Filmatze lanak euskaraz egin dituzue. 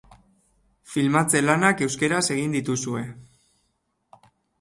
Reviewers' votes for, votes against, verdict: 2, 1, accepted